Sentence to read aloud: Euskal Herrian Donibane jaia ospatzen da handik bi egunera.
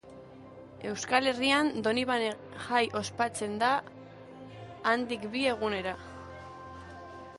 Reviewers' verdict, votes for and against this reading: rejected, 1, 3